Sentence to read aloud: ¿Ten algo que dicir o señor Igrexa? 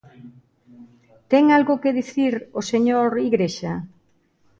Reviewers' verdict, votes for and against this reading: accepted, 2, 0